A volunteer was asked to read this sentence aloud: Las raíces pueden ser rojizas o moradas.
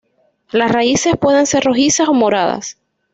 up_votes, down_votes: 2, 0